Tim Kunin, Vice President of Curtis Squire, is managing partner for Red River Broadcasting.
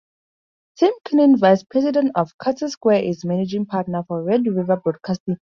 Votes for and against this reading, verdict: 2, 0, accepted